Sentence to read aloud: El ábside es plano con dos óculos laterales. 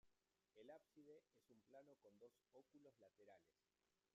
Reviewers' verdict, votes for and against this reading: rejected, 1, 2